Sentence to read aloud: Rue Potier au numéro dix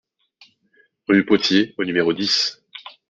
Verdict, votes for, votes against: accepted, 2, 0